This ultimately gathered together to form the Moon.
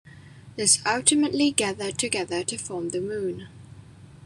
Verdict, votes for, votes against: accepted, 2, 1